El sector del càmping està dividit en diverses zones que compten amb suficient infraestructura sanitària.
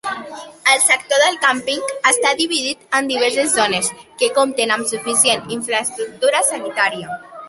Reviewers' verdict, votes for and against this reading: accepted, 3, 0